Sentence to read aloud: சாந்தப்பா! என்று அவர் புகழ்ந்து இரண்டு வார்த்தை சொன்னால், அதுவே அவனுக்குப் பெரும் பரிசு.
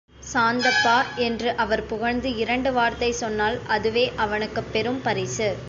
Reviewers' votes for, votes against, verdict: 2, 0, accepted